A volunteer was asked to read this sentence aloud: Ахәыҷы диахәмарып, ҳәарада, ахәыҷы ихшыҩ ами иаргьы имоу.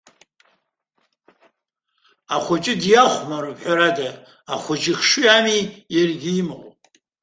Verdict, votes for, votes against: rejected, 0, 2